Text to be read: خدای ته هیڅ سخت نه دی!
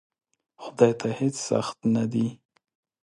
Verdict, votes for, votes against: accepted, 2, 0